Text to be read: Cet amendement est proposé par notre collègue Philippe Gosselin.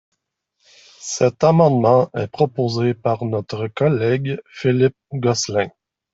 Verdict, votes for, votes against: accepted, 2, 0